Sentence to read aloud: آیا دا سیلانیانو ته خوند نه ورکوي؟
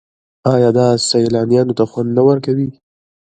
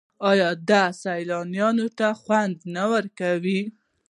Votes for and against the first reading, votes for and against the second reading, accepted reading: 2, 0, 0, 2, first